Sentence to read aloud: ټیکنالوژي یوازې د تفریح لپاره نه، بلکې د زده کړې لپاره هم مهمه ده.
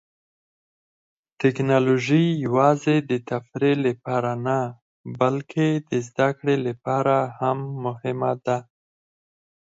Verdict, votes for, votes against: accepted, 4, 0